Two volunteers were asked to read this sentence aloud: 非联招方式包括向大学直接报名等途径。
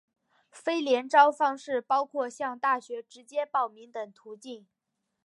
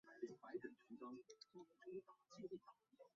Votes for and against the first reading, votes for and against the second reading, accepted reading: 7, 0, 0, 2, first